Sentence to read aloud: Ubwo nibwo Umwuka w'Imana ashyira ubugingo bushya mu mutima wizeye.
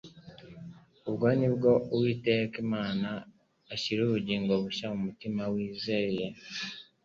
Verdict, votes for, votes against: accepted, 2, 1